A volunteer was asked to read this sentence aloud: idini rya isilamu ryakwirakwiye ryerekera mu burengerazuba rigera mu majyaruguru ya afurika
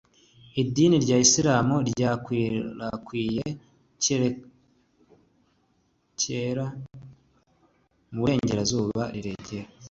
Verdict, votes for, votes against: rejected, 1, 2